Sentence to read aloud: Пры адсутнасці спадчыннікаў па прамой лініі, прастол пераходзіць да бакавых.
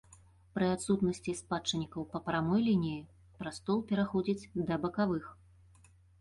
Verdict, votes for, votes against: accepted, 2, 0